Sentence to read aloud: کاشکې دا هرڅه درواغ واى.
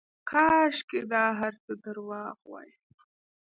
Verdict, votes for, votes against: accepted, 2, 0